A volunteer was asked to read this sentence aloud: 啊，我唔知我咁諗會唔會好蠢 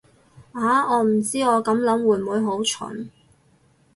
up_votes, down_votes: 0, 2